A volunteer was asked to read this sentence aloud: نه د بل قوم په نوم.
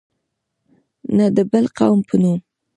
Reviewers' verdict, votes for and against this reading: accepted, 2, 0